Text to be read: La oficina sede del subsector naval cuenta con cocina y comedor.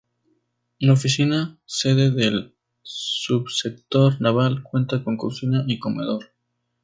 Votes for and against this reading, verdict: 2, 0, accepted